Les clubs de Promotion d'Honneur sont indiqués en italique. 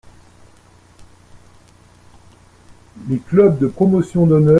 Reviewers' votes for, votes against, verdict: 0, 2, rejected